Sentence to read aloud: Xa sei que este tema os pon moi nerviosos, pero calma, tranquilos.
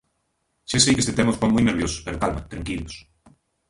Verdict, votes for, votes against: rejected, 1, 2